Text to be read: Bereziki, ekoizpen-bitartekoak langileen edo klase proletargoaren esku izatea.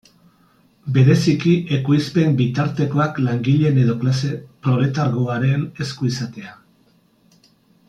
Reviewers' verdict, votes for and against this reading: rejected, 1, 2